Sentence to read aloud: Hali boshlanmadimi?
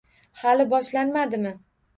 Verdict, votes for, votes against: rejected, 1, 2